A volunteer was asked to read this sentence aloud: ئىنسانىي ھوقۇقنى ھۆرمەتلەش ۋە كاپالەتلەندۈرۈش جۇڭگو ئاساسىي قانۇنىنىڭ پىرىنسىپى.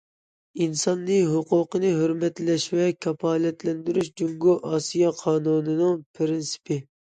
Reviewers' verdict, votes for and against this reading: rejected, 0, 2